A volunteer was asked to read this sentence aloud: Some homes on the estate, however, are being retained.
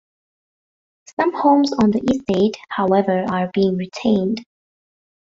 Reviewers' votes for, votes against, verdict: 1, 2, rejected